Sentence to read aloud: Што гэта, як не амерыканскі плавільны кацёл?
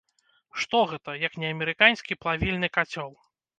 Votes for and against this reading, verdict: 1, 2, rejected